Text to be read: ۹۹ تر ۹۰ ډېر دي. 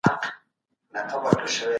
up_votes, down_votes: 0, 2